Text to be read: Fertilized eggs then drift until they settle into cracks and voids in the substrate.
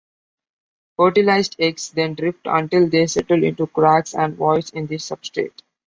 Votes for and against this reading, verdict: 2, 0, accepted